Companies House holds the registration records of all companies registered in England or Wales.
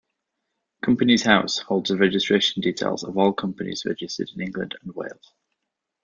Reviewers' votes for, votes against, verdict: 0, 2, rejected